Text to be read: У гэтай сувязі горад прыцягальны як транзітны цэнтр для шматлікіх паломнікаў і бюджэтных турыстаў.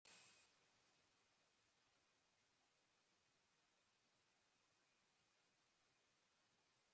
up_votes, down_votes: 0, 2